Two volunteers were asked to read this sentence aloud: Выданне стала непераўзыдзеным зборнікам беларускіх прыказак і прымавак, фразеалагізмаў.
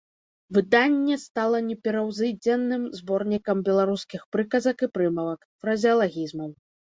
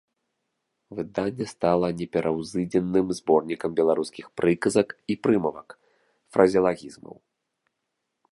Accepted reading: second